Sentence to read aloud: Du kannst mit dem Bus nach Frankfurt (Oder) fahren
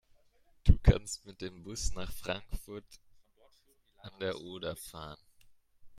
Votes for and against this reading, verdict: 0, 2, rejected